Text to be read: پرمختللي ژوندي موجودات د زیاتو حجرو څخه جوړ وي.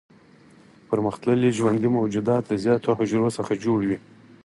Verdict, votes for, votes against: accepted, 4, 0